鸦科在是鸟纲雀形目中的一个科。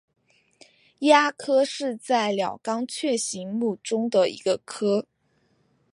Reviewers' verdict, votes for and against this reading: accepted, 2, 0